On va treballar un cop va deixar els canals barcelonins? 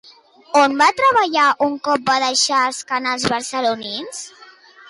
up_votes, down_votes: 2, 0